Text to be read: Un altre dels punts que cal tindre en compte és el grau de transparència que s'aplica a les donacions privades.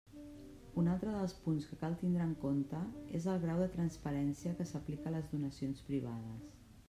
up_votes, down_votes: 0, 2